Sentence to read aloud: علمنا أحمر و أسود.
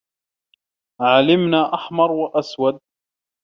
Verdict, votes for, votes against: rejected, 0, 2